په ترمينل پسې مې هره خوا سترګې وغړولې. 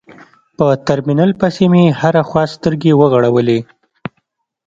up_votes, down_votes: 2, 0